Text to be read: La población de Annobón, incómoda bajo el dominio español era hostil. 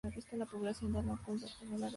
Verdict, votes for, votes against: accepted, 2, 0